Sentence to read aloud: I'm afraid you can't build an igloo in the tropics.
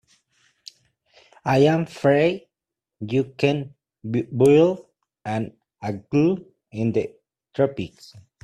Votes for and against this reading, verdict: 0, 2, rejected